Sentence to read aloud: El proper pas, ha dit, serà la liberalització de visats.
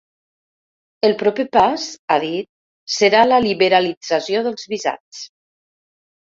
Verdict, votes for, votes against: rejected, 1, 2